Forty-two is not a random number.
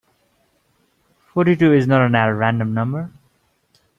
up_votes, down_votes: 0, 2